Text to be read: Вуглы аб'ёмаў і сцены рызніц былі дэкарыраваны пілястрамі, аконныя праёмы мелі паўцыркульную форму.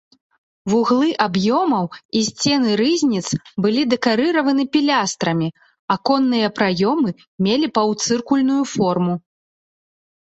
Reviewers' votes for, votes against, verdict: 2, 0, accepted